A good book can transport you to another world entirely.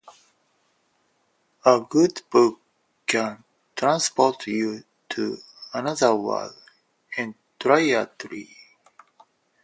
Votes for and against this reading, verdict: 2, 4, rejected